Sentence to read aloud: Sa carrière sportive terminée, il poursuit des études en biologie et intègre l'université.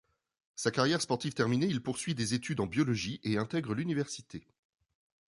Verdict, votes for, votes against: accepted, 2, 1